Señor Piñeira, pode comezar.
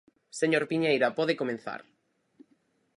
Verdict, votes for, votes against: rejected, 0, 4